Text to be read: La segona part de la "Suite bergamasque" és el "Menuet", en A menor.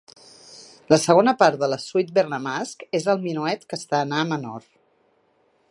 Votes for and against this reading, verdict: 2, 1, accepted